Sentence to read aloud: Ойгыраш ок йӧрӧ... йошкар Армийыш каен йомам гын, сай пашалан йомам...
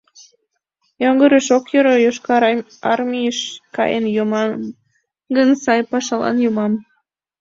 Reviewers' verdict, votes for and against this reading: rejected, 0, 2